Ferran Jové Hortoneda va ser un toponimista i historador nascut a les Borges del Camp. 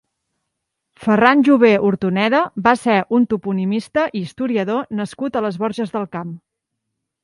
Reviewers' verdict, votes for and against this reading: accepted, 2, 0